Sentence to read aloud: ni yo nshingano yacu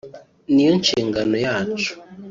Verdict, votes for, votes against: rejected, 0, 2